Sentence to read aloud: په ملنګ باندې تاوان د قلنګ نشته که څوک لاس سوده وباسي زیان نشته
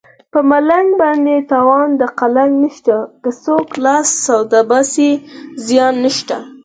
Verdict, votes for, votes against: rejected, 2, 4